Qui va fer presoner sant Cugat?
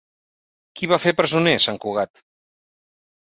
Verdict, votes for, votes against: accepted, 2, 0